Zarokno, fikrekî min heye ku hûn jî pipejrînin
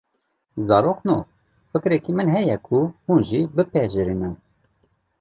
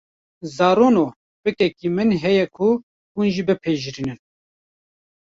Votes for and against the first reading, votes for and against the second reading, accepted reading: 2, 0, 0, 2, first